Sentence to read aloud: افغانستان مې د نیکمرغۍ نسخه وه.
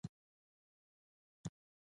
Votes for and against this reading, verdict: 0, 2, rejected